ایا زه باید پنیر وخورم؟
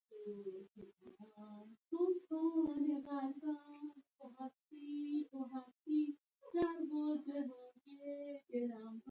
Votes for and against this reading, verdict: 1, 2, rejected